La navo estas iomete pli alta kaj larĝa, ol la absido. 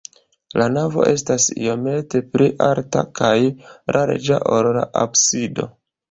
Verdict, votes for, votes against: rejected, 1, 2